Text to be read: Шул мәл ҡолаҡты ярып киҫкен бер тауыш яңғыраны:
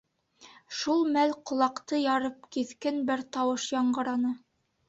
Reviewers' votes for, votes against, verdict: 2, 0, accepted